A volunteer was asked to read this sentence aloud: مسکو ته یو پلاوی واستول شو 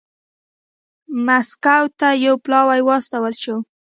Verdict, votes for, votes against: accepted, 2, 1